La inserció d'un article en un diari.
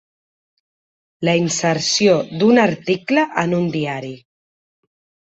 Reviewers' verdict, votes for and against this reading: accepted, 3, 0